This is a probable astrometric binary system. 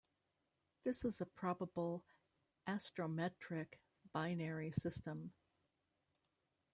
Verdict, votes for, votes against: rejected, 0, 2